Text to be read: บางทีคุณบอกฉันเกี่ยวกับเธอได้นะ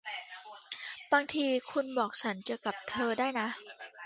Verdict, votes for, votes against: rejected, 0, 2